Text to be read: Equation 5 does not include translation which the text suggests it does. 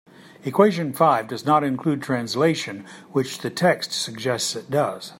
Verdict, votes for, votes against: rejected, 0, 2